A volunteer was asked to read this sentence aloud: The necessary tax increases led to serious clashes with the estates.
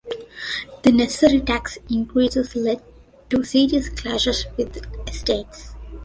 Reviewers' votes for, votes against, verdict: 2, 0, accepted